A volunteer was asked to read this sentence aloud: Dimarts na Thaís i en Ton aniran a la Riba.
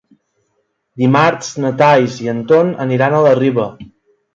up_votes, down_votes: 0, 2